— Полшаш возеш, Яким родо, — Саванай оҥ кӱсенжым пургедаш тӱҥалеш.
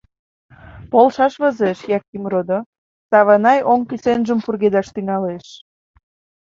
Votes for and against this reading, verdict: 2, 0, accepted